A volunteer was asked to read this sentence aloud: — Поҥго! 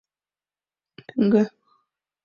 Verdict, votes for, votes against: rejected, 0, 2